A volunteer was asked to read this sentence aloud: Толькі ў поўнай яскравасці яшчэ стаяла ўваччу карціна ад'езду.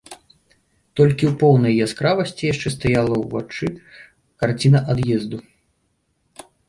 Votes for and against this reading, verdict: 0, 2, rejected